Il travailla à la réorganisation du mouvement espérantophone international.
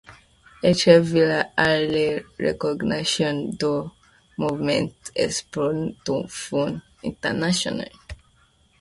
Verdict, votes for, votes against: rejected, 0, 2